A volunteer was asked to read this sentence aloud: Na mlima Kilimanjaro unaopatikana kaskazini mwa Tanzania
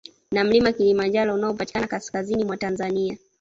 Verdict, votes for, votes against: accepted, 2, 0